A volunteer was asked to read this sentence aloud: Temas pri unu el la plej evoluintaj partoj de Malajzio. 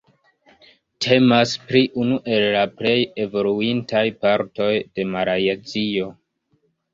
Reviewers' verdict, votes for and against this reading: rejected, 0, 2